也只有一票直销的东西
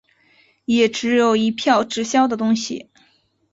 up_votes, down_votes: 3, 0